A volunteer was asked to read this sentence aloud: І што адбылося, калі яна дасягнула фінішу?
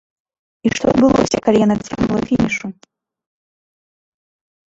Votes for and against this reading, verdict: 1, 2, rejected